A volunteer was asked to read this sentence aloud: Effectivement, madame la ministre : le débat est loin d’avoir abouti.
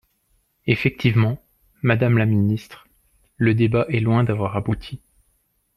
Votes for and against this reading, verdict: 2, 1, accepted